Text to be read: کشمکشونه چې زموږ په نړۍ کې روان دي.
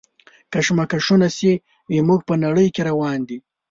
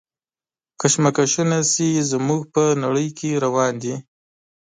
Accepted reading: first